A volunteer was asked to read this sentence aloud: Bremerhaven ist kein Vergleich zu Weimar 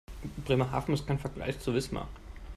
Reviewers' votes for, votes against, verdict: 0, 2, rejected